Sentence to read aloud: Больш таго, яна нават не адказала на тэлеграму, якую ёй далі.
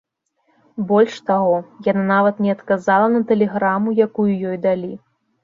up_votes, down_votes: 1, 2